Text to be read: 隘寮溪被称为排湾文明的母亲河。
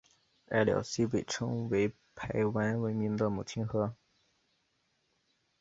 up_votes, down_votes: 2, 0